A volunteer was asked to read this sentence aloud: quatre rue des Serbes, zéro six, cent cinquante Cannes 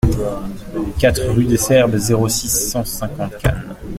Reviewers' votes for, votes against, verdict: 1, 2, rejected